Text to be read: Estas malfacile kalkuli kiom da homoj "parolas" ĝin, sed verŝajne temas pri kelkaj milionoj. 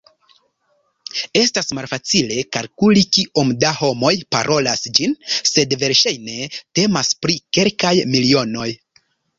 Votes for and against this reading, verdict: 0, 2, rejected